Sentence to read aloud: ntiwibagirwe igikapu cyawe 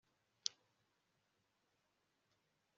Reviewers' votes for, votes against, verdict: 1, 2, rejected